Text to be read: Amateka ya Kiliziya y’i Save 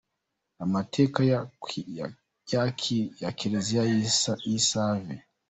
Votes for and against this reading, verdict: 0, 2, rejected